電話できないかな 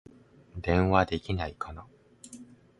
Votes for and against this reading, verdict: 2, 0, accepted